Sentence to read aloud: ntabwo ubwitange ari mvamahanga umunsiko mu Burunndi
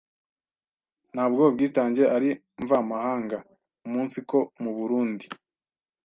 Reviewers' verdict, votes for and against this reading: accepted, 2, 0